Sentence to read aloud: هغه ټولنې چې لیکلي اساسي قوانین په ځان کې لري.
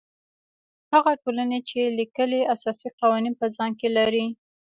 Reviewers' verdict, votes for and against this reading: accepted, 2, 0